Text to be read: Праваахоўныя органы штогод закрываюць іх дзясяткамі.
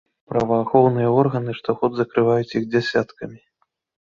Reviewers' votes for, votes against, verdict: 2, 0, accepted